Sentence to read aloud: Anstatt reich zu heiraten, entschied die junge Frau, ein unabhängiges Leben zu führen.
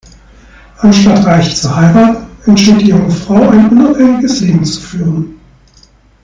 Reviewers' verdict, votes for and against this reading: accepted, 2, 0